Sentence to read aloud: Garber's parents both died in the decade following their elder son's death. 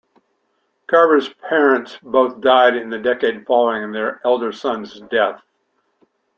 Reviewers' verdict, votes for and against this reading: accepted, 2, 0